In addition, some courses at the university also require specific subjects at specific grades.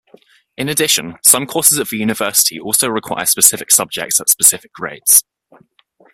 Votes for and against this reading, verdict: 2, 0, accepted